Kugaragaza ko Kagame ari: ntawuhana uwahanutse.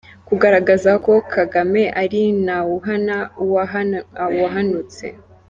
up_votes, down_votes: 0, 2